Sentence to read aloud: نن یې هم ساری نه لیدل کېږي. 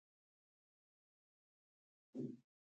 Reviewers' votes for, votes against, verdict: 2, 1, accepted